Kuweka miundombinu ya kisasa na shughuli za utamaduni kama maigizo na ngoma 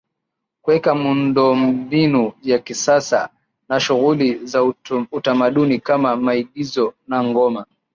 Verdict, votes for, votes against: rejected, 1, 3